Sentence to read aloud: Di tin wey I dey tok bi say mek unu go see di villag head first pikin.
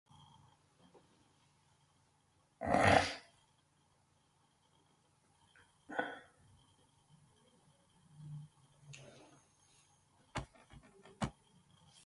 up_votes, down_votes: 0, 2